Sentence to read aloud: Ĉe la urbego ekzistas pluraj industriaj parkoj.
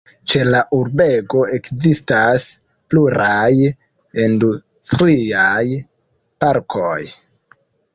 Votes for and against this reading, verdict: 0, 2, rejected